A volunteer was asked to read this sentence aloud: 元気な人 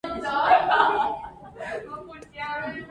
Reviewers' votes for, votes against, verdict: 0, 2, rejected